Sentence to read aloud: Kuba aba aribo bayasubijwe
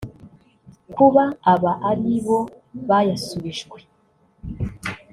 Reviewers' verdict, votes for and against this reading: rejected, 0, 2